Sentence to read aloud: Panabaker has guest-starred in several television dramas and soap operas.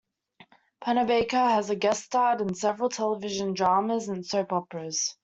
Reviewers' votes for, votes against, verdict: 0, 2, rejected